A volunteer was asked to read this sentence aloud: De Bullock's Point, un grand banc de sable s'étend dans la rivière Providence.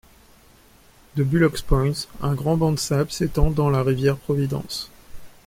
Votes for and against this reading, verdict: 1, 2, rejected